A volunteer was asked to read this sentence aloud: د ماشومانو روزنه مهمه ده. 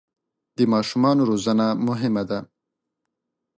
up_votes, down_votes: 2, 0